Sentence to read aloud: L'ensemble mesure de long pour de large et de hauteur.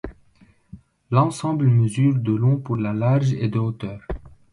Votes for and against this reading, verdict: 0, 2, rejected